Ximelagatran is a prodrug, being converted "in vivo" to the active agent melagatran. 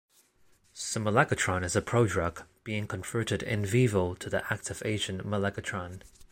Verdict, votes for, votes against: accepted, 2, 0